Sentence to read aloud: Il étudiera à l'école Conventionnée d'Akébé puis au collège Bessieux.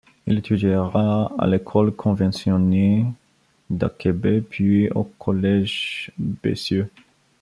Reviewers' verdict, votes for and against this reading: rejected, 1, 2